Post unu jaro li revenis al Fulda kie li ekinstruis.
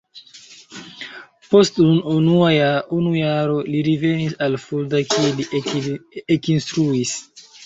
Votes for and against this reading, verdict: 0, 2, rejected